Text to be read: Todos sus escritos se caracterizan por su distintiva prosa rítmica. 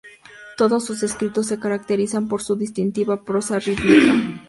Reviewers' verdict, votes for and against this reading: accepted, 2, 0